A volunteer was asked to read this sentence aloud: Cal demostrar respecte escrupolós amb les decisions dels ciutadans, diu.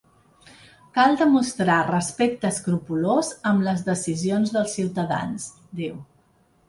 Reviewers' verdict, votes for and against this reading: accepted, 2, 0